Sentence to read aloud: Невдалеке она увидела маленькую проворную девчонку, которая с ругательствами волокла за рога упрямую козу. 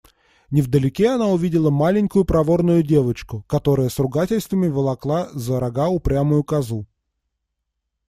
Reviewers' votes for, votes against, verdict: 0, 2, rejected